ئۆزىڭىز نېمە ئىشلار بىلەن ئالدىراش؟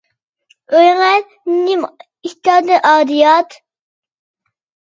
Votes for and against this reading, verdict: 1, 2, rejected